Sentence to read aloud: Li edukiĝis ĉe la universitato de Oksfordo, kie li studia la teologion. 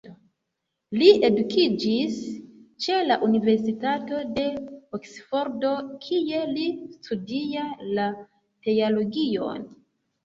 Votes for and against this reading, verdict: 0, 2, rejected